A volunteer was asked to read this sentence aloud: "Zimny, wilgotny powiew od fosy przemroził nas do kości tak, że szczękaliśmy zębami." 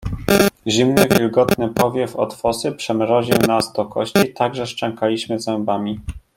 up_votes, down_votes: 0, 2